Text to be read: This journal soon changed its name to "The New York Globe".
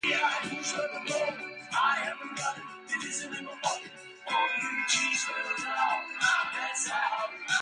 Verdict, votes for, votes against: rejected, 0, 2